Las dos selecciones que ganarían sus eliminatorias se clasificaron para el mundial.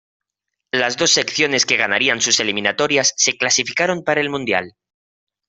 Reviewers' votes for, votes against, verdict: 0, 2, rejected